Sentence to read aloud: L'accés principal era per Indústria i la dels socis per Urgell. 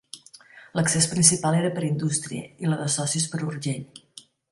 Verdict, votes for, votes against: rejected, 0, 2